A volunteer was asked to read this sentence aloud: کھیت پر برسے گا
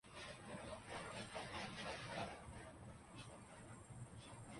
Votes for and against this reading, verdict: 1, 3, rejected